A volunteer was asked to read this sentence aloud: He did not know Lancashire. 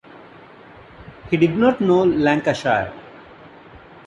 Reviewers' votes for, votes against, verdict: 0, 2, rejected